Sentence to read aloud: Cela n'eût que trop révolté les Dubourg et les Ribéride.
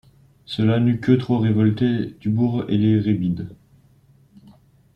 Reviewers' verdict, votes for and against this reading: rejected, 1, 2